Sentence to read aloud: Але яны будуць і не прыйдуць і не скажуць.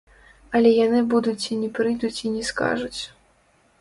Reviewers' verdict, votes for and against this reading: rejected, 0, 2